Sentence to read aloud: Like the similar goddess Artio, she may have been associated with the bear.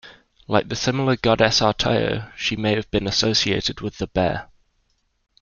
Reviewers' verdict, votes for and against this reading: accepted, 2, 0